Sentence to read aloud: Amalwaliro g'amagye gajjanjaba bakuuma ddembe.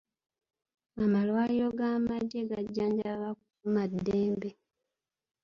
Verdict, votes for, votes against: rejected, 0, 2